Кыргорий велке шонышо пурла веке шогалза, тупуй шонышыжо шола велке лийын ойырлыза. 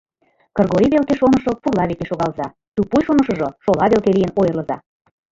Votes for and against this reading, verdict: 0, 2, rejected